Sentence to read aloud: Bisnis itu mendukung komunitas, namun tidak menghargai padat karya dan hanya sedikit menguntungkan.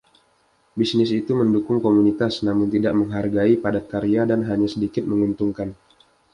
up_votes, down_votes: 2, 0